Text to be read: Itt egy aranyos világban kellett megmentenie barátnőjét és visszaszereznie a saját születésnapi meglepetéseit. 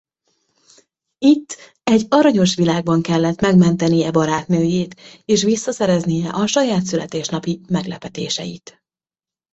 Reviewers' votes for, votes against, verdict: 0, 2, rejected